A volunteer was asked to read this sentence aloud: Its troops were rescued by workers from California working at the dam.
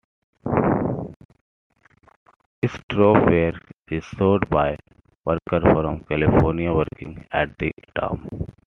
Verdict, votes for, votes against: rejected, 0, 2